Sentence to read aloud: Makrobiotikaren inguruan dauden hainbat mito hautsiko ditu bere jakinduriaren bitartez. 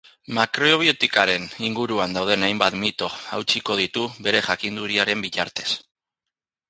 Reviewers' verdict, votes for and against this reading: accepted, 4, 0